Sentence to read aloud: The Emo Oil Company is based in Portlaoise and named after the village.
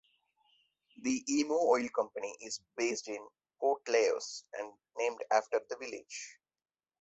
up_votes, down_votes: 2, 0